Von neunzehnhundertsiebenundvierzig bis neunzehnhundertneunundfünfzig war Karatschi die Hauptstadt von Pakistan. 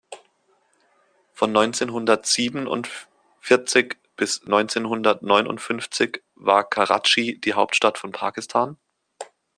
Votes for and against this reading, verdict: 2, 0, accepted